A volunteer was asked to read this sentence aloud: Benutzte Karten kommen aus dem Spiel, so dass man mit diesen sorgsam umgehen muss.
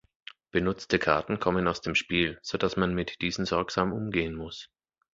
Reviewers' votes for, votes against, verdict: 2, 0, accepted